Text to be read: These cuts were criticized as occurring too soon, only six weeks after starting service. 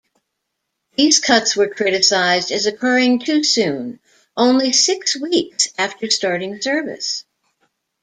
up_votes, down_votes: 2, 0